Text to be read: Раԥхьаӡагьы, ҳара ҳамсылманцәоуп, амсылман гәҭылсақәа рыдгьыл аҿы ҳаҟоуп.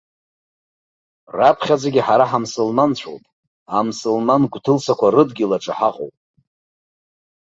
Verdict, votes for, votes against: accepted, 2, 0